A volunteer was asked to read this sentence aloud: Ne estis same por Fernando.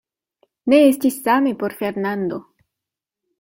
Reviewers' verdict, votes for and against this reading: accepted, 2, 0